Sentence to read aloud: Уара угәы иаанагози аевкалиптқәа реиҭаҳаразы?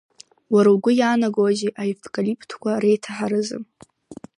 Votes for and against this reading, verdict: 2, 0, accepted